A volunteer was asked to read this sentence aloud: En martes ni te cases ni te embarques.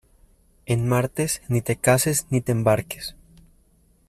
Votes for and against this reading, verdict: 2, 0, accepted